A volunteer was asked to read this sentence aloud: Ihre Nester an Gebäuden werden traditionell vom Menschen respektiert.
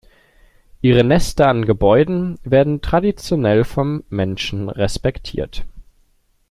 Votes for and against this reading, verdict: 2, 0, accepted